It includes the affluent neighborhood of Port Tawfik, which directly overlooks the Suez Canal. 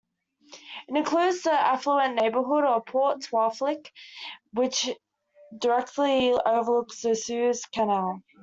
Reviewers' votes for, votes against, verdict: 1, 2, rejected